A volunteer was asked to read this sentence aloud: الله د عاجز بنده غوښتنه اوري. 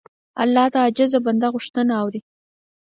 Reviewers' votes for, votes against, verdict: 6, 0, accepted